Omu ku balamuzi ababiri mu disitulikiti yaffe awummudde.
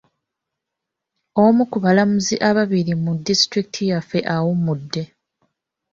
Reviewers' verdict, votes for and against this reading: accepted, 2, 1